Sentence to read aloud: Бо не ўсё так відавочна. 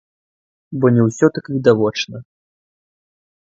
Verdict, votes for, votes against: rejected, 1, 2